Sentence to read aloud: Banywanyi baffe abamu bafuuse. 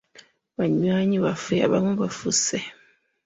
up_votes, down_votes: 0, 2